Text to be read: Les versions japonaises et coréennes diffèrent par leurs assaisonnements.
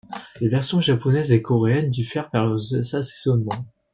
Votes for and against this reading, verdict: 0, 2, rejected